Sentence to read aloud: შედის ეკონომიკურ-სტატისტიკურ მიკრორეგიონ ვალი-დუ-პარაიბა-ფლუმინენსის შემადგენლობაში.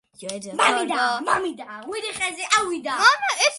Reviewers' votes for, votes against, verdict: 0, 2, rejected